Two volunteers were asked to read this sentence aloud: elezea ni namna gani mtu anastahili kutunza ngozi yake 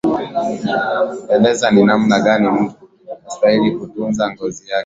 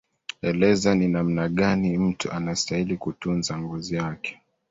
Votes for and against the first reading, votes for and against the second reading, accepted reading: 2, 0, 0, 2, first